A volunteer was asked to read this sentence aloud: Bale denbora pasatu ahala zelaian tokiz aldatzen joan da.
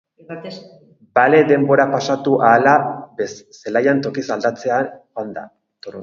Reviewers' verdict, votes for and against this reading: rejected, 0, 6